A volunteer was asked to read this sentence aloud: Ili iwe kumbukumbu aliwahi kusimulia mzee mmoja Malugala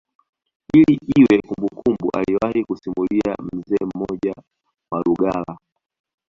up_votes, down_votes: 0, 2